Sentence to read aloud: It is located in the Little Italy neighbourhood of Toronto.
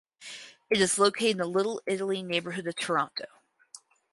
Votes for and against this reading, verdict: 2, 2, rejected